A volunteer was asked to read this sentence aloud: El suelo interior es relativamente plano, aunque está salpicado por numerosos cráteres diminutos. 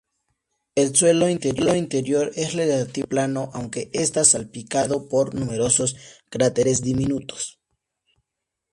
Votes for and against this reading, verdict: 2, 0, accepted